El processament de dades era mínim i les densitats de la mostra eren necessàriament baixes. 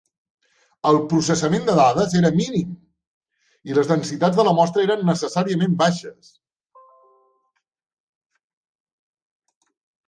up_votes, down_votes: 4, 0